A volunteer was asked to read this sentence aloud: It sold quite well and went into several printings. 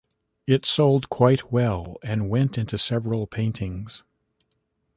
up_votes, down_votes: 1, 2